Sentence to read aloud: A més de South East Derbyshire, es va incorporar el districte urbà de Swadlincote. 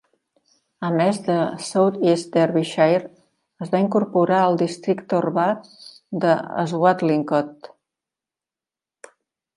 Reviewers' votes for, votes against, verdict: 3, 0, accepted